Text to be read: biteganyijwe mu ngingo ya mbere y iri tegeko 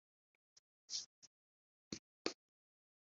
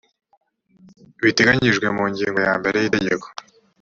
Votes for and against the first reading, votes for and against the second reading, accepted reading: 0, 2, 2, 0, second